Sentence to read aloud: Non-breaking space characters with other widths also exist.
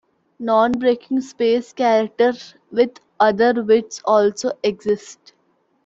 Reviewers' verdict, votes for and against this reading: accepted, 2, 0